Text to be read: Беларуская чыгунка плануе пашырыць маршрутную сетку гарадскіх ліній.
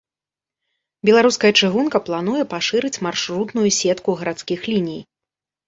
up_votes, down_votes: 2, 0